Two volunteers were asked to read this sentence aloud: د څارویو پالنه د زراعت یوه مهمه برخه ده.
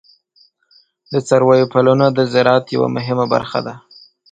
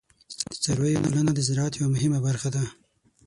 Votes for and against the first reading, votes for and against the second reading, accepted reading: 2, 0, 0, 6, first